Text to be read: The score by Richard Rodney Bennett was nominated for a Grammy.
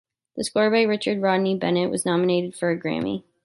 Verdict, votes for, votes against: accepted, 2, 0